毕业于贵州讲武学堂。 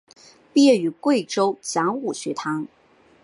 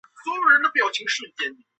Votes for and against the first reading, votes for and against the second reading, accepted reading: 4, 0, 0, 2, first